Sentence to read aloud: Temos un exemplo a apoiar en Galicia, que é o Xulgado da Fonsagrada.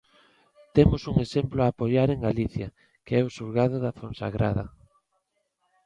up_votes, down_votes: 2, 0